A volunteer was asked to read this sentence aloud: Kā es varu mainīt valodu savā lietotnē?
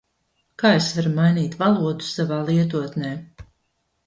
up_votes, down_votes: 2, 0